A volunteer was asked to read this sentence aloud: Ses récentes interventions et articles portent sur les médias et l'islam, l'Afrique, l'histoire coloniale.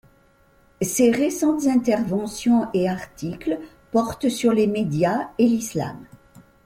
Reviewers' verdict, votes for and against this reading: rejected, 1, 2